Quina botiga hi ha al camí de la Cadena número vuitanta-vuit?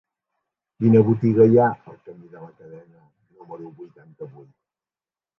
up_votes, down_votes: 0, 2